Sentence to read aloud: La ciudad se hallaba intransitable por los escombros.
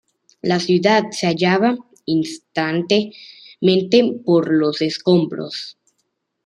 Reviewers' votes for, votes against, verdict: 1, 2, rejected